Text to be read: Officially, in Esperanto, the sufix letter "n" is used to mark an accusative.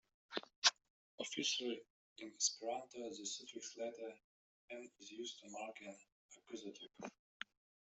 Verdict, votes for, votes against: rejected, 0, 2